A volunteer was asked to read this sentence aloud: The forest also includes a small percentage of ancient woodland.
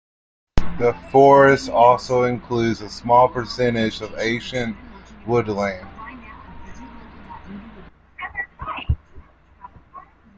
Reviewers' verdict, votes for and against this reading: accepted, 2, 0